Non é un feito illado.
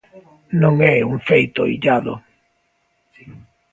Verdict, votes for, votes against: accepted, 2, 0